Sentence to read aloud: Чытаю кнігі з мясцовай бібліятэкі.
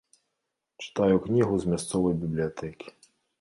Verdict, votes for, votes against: rejected, 0, 2